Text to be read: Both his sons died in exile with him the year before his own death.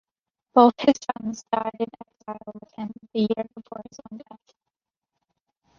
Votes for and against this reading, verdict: 2, 1, accepted